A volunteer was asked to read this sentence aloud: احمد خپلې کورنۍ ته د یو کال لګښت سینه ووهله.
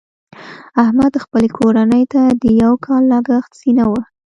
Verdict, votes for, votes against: rejected, 1, 2